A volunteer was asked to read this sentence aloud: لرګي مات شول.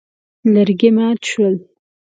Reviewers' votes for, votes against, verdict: 2, 0, accepted